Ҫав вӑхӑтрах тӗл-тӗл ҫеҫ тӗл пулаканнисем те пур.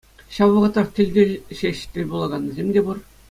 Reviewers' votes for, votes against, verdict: 2, 0, accepted